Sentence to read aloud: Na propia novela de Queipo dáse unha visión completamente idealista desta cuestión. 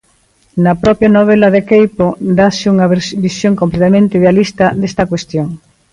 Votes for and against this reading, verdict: 2, 1, accepted